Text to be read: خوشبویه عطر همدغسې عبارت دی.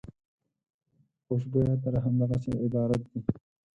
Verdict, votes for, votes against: rejected, 2, 6